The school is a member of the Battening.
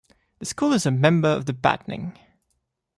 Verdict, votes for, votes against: accepted, 2, 0